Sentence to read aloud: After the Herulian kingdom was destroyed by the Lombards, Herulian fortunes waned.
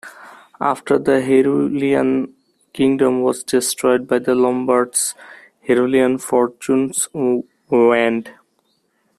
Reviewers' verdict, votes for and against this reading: rejected, 1, 2